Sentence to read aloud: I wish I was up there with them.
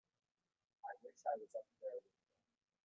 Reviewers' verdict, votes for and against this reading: rejected, 1, 2